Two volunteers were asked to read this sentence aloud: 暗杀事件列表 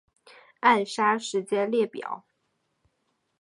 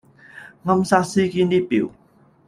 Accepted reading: first